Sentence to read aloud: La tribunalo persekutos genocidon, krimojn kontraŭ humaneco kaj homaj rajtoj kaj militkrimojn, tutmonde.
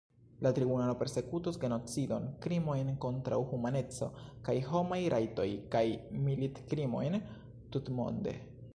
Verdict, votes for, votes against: rejected, 0, 2